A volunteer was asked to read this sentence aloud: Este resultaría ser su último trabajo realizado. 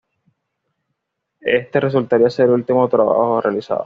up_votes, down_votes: 1, 2